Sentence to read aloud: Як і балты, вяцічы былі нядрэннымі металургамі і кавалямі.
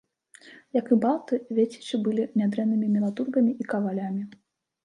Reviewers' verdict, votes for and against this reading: rejected, 1, 2